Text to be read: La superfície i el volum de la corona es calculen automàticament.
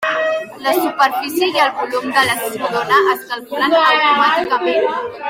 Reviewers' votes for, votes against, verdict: 0, 4, rejected